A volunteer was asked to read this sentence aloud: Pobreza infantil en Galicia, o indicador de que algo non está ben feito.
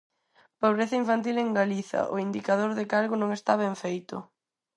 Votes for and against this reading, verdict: 2, 4, rejected